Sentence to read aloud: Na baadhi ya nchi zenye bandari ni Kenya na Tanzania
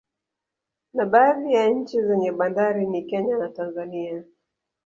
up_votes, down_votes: 1, 2